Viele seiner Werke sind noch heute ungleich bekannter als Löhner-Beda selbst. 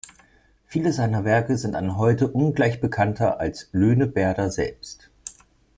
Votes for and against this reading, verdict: 0, 2, rejected